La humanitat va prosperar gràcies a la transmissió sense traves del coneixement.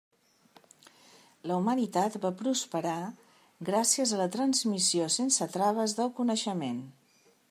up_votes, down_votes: 3, 0